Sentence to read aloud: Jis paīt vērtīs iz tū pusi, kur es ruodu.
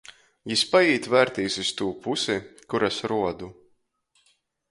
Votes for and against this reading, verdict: 2, 0, accepted